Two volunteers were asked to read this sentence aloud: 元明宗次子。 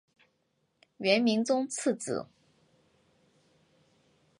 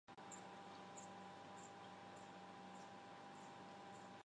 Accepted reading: first